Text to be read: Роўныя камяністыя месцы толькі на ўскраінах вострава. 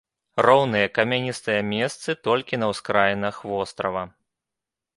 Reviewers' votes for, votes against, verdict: 2, 0, accepted